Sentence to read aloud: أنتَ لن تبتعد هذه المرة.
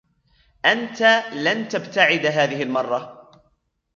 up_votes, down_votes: 1, 2